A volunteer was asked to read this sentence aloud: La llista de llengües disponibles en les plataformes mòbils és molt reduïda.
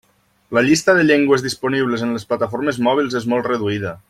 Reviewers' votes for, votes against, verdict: 3, 0, accepted